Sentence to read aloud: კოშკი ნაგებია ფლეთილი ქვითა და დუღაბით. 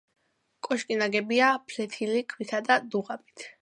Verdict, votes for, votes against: accepted, 2, 0